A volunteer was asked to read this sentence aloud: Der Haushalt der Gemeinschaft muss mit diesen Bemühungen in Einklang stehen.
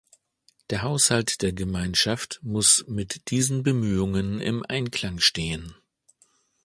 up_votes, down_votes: 2, 3